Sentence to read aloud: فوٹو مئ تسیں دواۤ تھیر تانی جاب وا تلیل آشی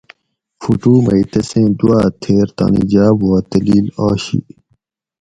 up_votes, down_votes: 4, 0